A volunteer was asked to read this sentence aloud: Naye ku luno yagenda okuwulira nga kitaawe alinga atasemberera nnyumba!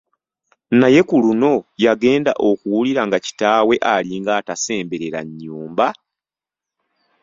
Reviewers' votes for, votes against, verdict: 2, 0, accepted